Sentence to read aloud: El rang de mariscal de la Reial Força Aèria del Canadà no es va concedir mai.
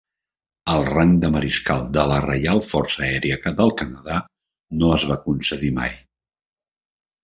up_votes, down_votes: 3, 0